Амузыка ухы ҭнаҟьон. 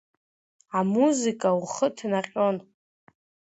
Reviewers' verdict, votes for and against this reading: accepted, 2, 0